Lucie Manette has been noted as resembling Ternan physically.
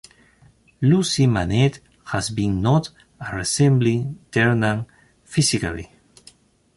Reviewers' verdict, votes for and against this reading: rejected, 0, 3